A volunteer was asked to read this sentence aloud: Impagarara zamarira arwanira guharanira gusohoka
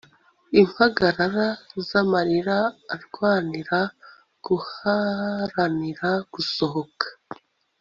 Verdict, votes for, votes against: accepted, 2, 0